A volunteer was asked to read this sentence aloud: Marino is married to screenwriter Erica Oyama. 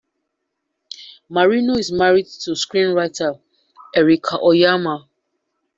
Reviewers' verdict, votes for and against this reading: accepted, 2, 0